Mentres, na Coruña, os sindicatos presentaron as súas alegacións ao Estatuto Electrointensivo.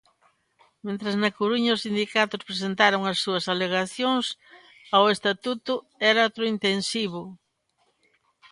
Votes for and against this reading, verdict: 2, 0, accepted